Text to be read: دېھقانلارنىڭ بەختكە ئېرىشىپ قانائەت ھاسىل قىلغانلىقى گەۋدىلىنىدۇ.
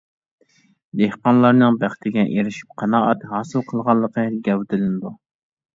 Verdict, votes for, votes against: rejected, 0, 2